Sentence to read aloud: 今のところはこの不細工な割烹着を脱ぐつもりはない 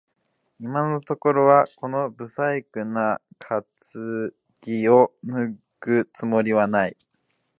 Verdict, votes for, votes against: rejected, 0, 2